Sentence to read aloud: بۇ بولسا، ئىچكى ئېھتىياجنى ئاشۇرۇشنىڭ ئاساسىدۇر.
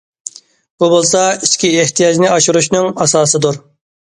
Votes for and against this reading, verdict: 2, 0, accepted